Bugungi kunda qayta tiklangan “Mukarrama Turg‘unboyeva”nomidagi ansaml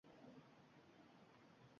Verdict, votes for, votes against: rejected, 0, 3